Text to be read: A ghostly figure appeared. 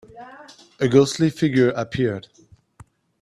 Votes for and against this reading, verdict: 2, 1, accepted